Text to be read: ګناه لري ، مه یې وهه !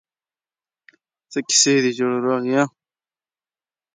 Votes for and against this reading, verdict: 0, 2, rejected